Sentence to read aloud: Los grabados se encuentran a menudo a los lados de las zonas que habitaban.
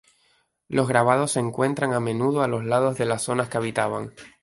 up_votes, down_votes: 2, 0